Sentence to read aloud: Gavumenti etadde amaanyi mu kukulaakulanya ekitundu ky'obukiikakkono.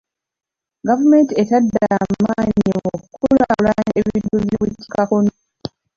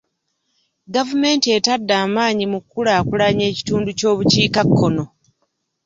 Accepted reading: second